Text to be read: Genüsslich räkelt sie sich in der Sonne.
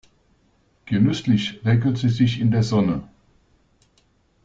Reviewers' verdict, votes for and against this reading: rejected, 0, 2